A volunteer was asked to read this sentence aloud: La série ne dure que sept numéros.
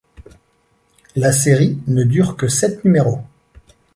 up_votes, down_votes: 2, 0